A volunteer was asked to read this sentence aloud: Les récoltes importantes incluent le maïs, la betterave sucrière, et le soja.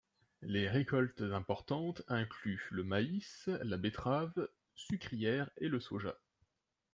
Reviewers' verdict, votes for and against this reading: accepted, 2, 0